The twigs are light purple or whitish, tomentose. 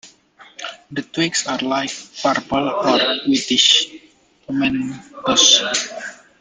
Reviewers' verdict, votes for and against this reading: rejected, 1, 2